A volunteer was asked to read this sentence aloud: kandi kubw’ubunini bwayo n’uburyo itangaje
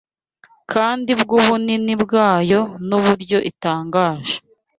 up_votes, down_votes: 0, 2